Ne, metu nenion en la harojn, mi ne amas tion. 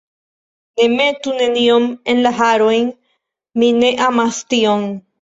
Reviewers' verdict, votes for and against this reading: rejected, 1, 2